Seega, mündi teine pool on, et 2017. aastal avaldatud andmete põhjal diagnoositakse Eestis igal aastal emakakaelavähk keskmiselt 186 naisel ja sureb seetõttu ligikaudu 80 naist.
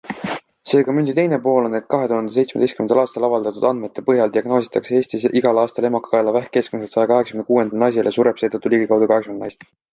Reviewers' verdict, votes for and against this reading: rejected, 0, 2